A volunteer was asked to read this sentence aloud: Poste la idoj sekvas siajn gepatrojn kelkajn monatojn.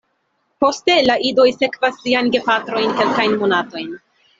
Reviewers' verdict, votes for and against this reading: accepted, 2, 0